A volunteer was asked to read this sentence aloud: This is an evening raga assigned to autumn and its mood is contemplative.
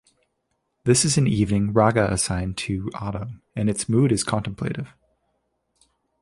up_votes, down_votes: 2, 0